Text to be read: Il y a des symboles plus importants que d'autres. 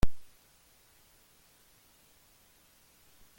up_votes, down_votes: 0, 2